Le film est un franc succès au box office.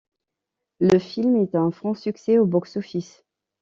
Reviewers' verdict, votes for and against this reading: accepted, 2, 0